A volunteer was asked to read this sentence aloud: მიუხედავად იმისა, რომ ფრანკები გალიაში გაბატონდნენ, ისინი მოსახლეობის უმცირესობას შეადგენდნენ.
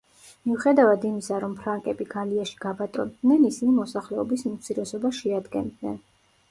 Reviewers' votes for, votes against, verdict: 2, 0, accepted